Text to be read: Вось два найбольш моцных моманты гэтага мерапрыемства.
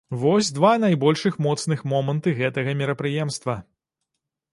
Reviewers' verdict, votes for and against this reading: rejected, 1, 2